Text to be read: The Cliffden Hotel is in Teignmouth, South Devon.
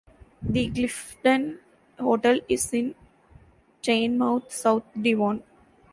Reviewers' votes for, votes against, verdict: 0, 2, rejected